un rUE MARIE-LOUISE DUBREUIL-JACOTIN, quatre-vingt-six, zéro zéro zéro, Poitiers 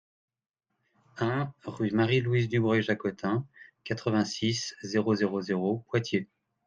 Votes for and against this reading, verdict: 2, 0, accepted